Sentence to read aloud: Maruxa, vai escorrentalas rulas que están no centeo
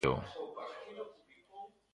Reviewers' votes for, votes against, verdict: 0, 2, rejected